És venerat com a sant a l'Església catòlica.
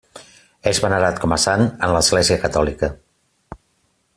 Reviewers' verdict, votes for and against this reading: accepted, 2, 0